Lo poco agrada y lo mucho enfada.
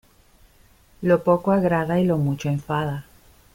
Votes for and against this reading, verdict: 2, 0, accepted